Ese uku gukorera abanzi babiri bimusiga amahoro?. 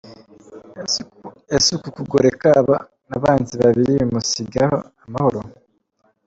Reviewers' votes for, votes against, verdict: 0, 2, rejected